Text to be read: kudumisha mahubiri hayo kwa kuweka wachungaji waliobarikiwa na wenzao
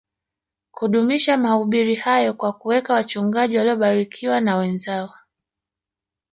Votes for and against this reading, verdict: 2, 0, accepted